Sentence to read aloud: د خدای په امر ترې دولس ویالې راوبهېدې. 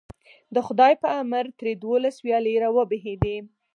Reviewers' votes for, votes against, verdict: 4, 0, accepted